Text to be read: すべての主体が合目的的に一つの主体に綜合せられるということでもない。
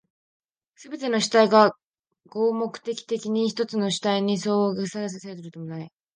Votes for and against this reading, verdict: 1, 2, rejected